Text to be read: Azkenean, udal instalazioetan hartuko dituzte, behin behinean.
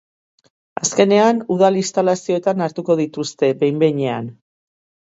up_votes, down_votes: 3, 0